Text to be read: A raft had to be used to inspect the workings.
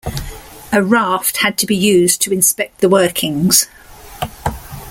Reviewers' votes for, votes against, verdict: 2, 0, accepted